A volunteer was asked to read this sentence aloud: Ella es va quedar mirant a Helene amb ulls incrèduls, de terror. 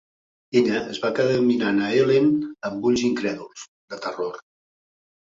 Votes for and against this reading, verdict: 2, 0, accepted